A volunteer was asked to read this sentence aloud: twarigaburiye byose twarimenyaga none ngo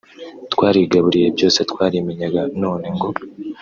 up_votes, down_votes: 0, 2